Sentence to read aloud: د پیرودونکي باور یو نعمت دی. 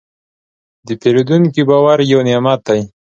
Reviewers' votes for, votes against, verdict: 2, 0, accepted